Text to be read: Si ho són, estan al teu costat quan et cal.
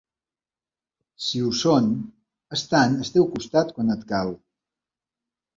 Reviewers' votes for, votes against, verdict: 3, 0, accepted